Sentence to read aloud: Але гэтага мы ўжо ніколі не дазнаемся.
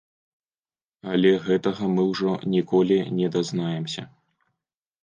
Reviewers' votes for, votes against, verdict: 2, 0, accepted